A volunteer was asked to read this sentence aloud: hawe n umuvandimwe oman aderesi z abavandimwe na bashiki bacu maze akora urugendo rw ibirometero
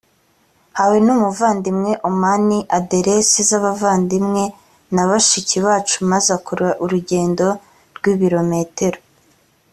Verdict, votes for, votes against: rejected, 0, 2